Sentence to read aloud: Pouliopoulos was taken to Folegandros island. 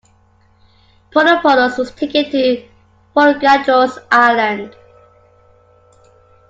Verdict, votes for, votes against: accepted, 2, 1